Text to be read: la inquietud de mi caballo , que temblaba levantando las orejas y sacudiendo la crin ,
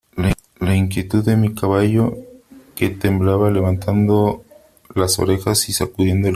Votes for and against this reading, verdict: 0, 3, rejected